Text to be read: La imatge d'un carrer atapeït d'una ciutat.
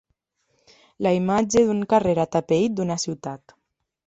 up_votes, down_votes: 2, 0